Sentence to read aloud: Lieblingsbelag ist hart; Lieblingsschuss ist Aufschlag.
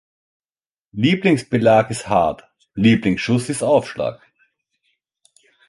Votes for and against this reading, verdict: 2, 0, accepted